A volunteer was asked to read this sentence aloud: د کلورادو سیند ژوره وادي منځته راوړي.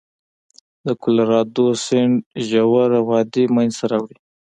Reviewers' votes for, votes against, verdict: 2, 1, accepted